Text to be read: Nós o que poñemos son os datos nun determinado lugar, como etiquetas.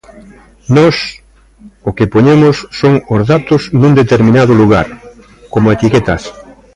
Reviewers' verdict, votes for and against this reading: accepted, 2, 0